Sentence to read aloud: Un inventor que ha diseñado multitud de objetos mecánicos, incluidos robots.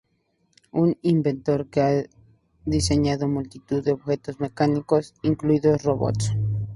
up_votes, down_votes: 2, 0